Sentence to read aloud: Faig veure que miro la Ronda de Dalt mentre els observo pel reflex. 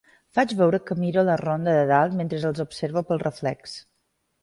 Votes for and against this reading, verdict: 2, 0, accepted